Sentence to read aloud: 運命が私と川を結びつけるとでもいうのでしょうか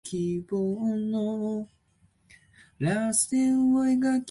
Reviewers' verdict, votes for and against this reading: rejected, 0, 2